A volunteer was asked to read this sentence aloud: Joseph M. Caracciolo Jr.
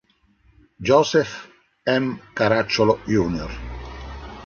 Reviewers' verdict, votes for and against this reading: accepted, 2, 0